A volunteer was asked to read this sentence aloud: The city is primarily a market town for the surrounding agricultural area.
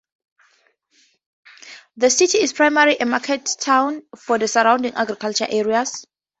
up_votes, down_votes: 2, 2